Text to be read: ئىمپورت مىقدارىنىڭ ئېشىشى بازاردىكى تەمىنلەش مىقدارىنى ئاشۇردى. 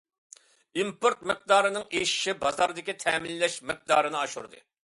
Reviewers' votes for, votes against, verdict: 2, 0, accepted